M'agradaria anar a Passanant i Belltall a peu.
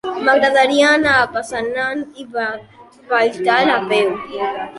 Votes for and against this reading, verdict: 1, 4, rejected